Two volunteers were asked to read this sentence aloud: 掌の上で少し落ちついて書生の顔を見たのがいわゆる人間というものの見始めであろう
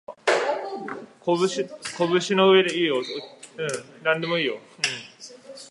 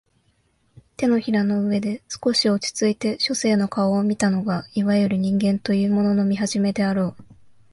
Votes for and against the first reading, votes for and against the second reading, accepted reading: 0, 2, 2, 0, second